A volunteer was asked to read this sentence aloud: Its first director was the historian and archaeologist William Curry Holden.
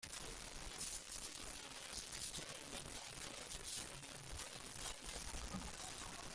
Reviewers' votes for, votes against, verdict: 0, 2, rejected